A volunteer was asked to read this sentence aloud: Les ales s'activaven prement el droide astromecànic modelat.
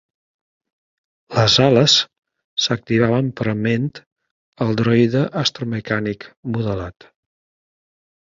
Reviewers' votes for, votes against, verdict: 2, 0, accepted